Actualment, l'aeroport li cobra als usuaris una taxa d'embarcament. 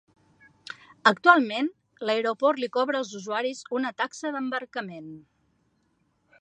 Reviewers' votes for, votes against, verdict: 3, 0, accepted